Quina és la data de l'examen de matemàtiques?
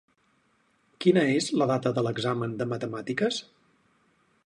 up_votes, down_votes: 4, 0